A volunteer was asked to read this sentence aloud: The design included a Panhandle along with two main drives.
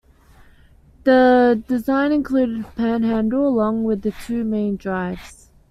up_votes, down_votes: 2, 0